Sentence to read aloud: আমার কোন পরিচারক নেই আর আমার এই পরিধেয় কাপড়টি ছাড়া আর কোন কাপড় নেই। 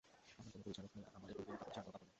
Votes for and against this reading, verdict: 0, 2, rejected